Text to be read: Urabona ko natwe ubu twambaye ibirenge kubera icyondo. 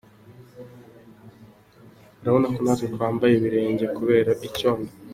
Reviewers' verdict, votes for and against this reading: accepted, 2, 1